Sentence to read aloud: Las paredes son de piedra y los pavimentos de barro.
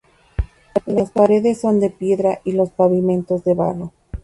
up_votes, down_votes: 0, 2